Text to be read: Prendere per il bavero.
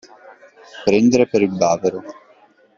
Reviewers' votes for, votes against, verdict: 2, 0, accepted